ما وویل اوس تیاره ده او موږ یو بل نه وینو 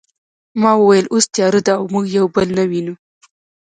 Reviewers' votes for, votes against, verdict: 1, 2, rejected